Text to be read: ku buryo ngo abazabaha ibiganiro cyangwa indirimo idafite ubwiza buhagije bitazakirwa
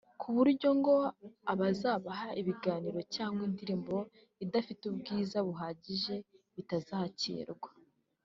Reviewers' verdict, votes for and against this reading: rejected, 1, 2